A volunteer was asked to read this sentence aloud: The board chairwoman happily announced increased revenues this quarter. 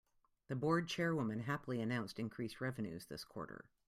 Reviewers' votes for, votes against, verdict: 2, 0, accepted